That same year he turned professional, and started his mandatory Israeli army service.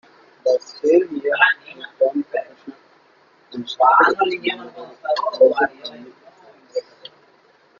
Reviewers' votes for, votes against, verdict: 0, 2, rejected